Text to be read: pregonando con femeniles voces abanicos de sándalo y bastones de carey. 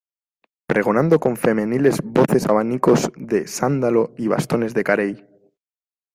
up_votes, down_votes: 2, 0